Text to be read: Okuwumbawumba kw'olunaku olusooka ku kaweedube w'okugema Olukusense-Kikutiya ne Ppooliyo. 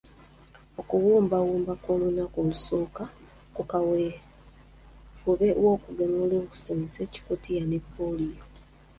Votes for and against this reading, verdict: 0, 2, rejected